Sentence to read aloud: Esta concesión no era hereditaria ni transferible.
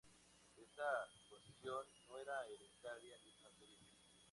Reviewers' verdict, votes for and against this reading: rejected, 0, 2